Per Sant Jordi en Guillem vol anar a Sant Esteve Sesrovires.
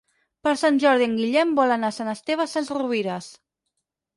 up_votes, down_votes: 0, 6